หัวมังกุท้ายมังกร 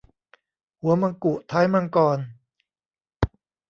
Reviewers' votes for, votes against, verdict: 1, 2, rejected